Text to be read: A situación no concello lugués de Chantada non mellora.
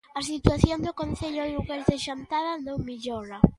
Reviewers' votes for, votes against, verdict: 0, 2, rejected